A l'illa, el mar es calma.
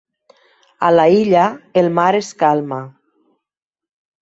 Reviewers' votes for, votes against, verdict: 1, 2, rejected